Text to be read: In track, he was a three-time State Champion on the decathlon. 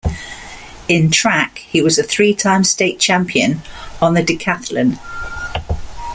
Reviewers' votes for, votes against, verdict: 2, 0, accepted